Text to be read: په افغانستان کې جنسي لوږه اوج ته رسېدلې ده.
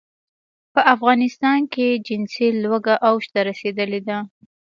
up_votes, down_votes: 2, 0